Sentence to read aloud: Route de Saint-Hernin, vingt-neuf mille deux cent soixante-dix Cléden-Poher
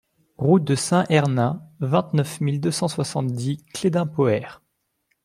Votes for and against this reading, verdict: 2, 0, accepted